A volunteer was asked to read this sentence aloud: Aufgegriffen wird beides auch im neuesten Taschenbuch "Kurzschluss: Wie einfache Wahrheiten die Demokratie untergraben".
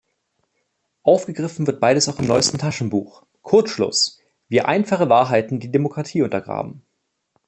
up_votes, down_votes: 2, 0